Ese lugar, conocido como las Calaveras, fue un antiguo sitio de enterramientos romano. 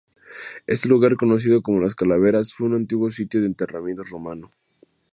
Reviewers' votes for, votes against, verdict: 0, 2, rejected